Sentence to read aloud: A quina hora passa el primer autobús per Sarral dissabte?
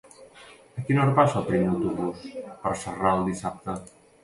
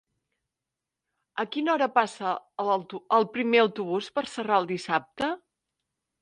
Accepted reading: first